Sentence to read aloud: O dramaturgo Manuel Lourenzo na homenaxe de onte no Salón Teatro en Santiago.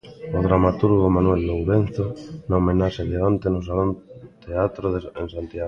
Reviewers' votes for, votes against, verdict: 0, 2, rejected